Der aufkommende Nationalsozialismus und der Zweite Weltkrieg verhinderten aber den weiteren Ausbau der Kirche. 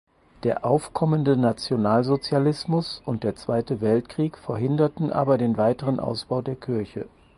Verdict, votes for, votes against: accepted, 4, 0